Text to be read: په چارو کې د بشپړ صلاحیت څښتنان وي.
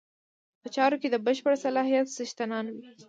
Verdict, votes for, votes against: rejected, 0, 2